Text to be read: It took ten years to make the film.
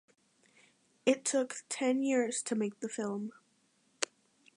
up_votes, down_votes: 2, 0